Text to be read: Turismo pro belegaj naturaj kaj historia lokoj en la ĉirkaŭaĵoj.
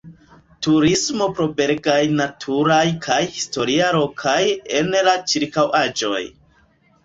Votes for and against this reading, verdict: 1, 2, rejected